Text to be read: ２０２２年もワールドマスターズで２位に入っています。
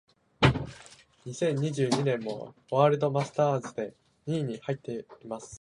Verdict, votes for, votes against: rejected, 0, 2